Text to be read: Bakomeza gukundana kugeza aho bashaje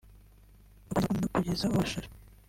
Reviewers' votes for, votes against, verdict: 0, 2, rejected